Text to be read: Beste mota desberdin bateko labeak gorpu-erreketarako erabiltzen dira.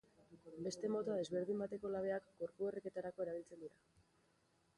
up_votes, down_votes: 3, 2